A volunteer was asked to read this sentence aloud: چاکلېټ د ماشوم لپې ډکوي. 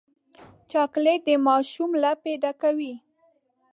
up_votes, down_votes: 2, 0